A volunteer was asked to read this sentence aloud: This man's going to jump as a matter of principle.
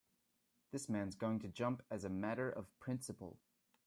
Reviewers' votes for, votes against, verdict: 3, 0, accepted